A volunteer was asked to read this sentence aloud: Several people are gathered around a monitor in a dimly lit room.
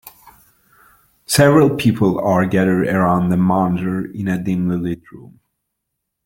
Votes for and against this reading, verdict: 3, 2, accepted